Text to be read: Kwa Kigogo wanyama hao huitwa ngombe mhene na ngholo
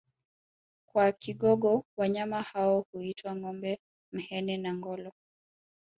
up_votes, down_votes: 2, 0